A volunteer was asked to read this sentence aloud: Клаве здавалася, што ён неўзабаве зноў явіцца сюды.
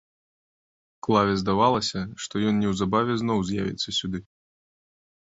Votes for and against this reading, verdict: 1, 2, rejected